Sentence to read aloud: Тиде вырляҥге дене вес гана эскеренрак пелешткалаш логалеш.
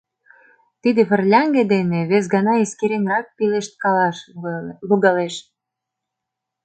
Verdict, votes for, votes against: rejected, 0, 2